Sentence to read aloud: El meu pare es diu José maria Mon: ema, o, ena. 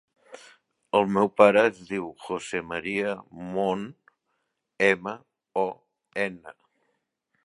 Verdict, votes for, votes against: accepted, 2, 0